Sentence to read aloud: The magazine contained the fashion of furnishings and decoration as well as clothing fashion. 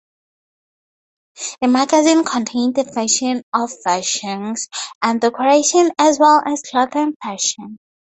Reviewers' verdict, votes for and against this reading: rejected, 0, 4